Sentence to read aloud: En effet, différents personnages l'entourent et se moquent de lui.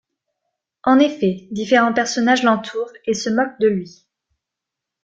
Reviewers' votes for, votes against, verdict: 2, 0, accepted